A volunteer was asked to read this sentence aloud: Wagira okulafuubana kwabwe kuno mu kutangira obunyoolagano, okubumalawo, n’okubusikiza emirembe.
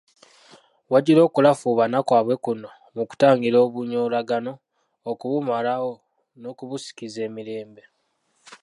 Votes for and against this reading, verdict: 0, 2, rejected